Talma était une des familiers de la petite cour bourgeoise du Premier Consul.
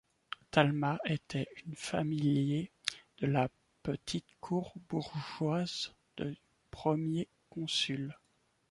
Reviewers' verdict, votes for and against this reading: rejected, 1, 2